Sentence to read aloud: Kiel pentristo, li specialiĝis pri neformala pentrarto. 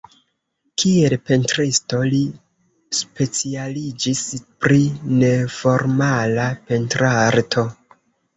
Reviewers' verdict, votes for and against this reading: accepted, 2, 0